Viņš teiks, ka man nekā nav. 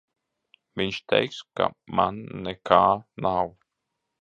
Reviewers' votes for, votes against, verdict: 2, 0, accepted